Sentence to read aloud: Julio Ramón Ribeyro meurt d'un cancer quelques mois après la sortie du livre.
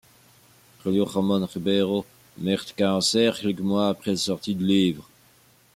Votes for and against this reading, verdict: 0, 2, rejected